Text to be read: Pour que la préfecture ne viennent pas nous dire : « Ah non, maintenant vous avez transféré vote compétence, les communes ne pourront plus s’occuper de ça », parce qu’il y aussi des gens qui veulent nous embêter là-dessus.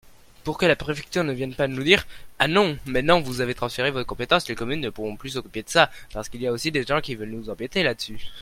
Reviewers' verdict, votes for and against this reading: rejected, 1, 2